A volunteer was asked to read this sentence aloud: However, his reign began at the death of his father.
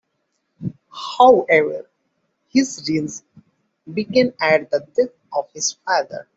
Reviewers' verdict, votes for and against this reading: rejected, 1, 2